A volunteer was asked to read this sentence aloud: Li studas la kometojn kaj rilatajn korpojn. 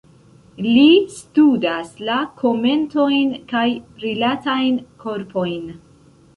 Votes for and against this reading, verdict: 0, 2, rejected